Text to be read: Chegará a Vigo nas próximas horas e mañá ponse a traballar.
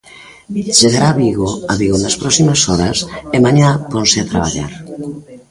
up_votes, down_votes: 0, 2